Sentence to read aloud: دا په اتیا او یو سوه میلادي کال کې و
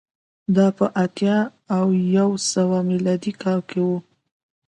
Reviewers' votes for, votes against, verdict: 2, 0, accepted